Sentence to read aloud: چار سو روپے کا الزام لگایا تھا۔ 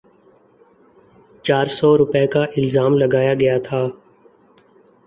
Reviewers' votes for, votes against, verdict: 0, 2, rejected